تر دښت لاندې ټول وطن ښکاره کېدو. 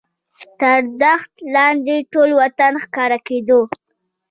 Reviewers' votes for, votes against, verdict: 2, 1, accepted